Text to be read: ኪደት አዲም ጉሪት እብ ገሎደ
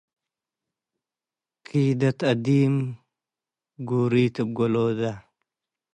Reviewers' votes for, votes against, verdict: 2, 1, accepted